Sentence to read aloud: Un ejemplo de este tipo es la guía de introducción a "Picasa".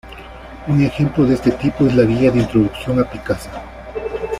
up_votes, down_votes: 2, 0